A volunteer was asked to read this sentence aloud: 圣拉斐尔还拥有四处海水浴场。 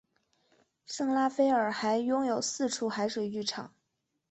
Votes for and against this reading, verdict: 2, 0, accepted